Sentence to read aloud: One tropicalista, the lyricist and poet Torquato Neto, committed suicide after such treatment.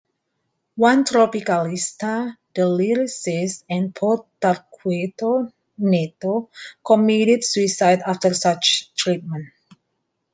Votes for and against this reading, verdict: 2, 1, accepted